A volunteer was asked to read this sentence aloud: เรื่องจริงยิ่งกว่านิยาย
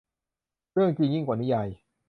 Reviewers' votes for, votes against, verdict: 0, 2, rejected